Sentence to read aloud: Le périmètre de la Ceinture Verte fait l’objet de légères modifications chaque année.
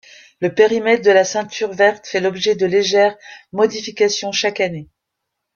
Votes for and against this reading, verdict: 1, 2, rejected